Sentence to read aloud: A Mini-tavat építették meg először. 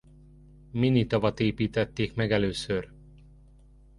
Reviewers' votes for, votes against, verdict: 1, 2, rejected